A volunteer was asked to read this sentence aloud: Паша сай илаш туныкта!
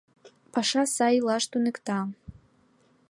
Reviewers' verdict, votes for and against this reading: accepted, 2, 0